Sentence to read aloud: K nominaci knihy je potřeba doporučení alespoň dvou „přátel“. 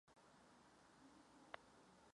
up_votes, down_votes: 0, 2